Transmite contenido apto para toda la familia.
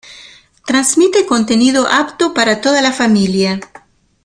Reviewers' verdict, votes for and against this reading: accepted, 2, 1